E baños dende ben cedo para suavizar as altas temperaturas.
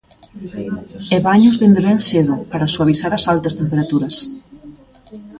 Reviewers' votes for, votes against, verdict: 0, 2, rejected